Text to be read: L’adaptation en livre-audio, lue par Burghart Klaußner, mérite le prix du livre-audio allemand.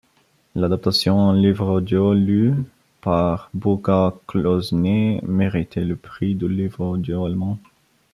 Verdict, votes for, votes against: accepted, 2, 0